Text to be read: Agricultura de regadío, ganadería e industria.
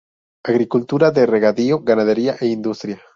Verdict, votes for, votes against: accepted, 2, 0